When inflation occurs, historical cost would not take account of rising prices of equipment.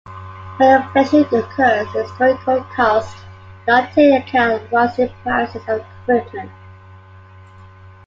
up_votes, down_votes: 0, 2